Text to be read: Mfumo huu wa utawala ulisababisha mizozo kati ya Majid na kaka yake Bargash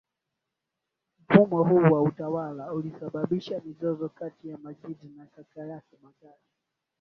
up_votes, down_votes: 1, 4